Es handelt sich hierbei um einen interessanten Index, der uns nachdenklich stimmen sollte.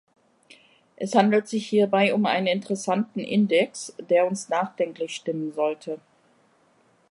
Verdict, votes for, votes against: accepted, 2, 0